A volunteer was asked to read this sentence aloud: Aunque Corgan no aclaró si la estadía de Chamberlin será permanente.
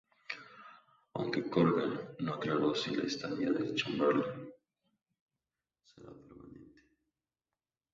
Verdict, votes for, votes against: accepted, 2, 0